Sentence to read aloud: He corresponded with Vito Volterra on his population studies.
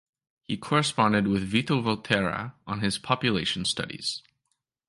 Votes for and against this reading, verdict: 2, 0, accepted